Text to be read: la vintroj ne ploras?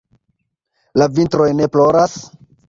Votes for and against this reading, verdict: 1, 2, rejected